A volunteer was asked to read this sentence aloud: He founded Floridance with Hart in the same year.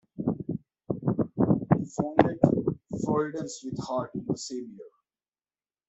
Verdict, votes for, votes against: rejected, 1, 2